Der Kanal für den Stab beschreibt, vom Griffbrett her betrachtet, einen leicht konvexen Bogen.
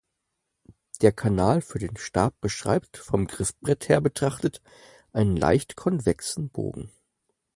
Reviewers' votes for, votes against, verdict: 4, 0, accepted